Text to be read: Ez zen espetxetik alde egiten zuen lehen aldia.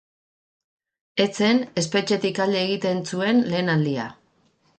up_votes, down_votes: 4, 0